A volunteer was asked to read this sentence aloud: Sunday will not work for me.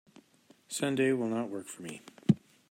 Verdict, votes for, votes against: accepted, 2, 0